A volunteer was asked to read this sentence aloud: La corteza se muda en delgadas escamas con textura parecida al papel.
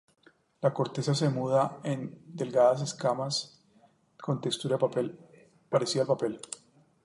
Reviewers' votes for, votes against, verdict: 0, 2, rejected